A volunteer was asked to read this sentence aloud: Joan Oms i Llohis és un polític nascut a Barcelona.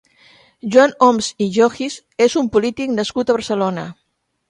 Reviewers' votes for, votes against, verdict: 1, 2, rejected